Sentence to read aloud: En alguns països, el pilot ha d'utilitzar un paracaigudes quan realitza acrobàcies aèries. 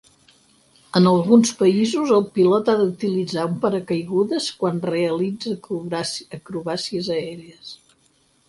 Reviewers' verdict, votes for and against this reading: rejected, 2, 4